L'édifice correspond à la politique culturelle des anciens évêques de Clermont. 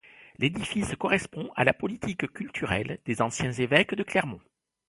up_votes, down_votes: 2, 0